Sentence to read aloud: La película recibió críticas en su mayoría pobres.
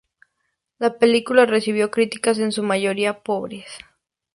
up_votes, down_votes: 2, 0